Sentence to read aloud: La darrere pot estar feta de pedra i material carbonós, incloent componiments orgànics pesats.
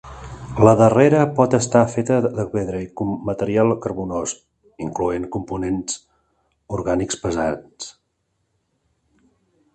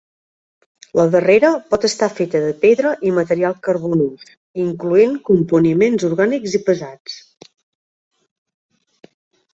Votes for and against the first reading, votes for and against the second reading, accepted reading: 0, 2, 2, 0, second